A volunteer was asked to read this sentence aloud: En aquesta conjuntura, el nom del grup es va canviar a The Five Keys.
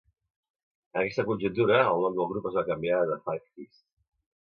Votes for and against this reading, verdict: 0, 2, rejected